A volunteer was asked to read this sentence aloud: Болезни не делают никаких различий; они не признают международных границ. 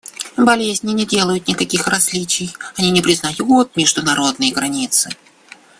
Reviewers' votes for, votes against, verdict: 0, 2, rejected